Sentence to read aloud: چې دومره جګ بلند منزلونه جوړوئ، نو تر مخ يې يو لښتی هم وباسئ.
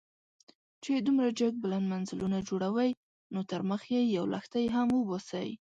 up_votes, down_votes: 2, 0